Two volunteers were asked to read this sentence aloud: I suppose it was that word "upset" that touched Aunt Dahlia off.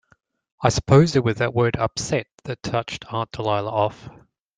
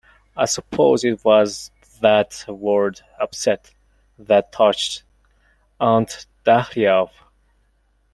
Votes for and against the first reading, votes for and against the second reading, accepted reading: 2, 0, 1, 2, first